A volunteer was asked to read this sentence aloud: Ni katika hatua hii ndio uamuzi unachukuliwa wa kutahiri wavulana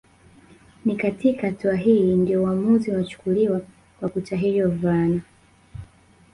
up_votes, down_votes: 1, 2